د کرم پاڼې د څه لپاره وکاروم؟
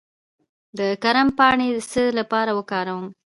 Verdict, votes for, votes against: rejected, 1, 2